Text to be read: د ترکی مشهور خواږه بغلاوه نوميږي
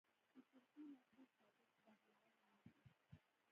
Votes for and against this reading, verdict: 0, 2, rejected